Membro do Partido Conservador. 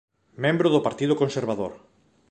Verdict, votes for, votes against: accepted, 3, 0